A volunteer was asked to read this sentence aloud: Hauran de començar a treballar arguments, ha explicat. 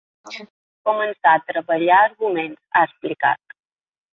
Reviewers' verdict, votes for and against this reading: rejected, 0, 2